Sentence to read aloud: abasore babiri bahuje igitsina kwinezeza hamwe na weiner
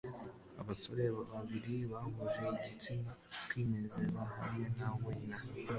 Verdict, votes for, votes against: accepted, 2, 0